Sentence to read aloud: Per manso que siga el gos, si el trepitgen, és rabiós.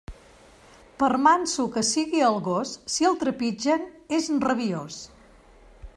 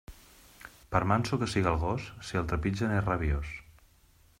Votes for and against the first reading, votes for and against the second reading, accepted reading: 1, 2, 2, 0, second